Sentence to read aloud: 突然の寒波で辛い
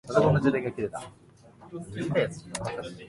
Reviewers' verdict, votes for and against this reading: rejected, 0, 2